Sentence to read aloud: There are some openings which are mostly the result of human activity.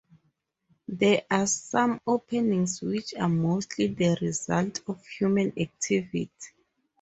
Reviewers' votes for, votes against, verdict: 2, 0, accepted